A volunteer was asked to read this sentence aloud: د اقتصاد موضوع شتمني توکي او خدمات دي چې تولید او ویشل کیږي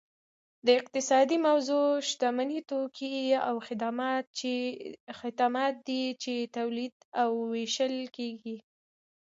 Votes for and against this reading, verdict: 2, 1, accepted